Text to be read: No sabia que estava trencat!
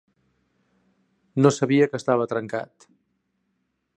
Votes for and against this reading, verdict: 2, 0, accepted